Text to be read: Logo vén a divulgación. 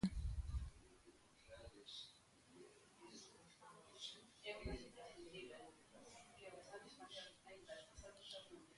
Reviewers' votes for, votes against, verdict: 0, 2, rejected